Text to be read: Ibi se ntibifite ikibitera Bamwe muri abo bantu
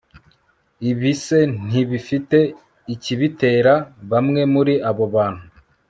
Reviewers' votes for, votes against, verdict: 2, 0, accepted